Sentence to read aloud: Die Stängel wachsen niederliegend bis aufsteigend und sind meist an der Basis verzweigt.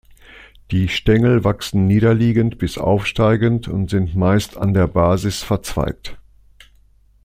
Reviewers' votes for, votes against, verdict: 2, 0, accepted